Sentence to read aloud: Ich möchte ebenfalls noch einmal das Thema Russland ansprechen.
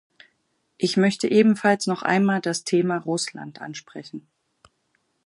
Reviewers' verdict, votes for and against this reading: accepted, 4, 0